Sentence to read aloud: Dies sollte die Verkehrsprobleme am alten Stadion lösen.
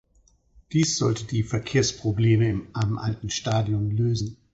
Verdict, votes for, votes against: rejected, 0, 4